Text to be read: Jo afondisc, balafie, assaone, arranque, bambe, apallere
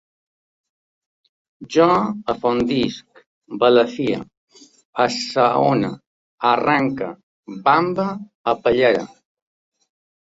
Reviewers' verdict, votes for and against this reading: rejected, 1, 2